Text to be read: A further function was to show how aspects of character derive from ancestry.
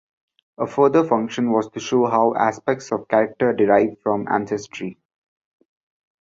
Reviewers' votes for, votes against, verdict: 2, 0, accepted